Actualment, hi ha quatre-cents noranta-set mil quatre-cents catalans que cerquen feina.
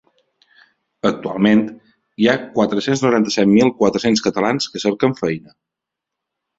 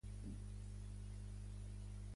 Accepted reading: first